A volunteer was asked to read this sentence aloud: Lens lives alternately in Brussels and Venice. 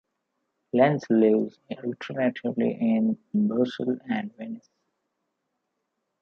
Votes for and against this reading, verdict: 2, 1, accepted